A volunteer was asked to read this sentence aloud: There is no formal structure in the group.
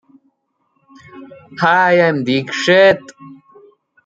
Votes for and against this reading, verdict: 0, 2, rejected